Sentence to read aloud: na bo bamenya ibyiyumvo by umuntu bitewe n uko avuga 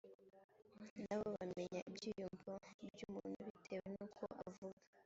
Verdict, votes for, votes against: rejected, 1, 2